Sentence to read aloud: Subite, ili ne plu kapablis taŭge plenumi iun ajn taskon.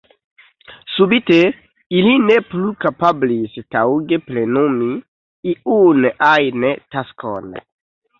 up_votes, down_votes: 0, 2